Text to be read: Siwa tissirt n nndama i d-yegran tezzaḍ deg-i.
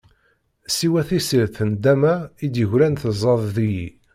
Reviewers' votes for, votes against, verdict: 2, 0, accepted